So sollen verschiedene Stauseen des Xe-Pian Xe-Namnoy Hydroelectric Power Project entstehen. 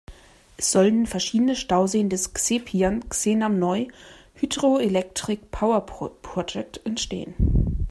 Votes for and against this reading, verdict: 0, 2, rejected